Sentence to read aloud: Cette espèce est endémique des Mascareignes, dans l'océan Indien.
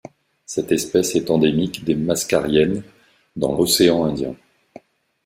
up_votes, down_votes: 2, 0